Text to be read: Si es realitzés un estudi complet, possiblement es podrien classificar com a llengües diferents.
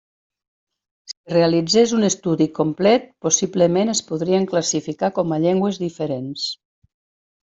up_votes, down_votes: 1, 2